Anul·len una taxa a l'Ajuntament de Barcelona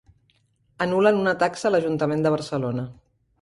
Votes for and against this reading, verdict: 3, 1, accepted